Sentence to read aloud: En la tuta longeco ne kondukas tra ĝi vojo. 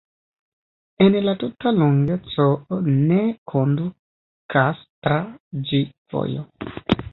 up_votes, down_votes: 1, 2